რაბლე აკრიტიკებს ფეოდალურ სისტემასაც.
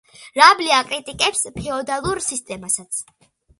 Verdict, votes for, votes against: accepted, 2, 0